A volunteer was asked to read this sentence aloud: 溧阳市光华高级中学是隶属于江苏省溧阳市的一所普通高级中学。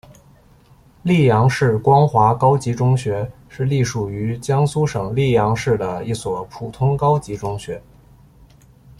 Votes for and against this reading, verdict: 2, 0, accepted